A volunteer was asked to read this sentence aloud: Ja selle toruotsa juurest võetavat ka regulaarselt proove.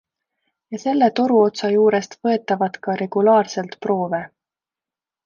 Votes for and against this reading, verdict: 2, 0, accepted